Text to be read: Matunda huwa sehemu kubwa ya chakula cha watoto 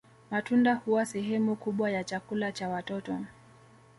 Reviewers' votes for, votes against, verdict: 2, 0, accepted